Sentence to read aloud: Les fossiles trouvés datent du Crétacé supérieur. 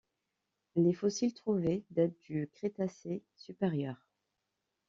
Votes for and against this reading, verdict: 2, 1, accepted